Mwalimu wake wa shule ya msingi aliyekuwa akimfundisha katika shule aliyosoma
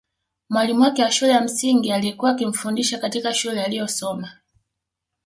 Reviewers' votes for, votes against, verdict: 1, 2, rejected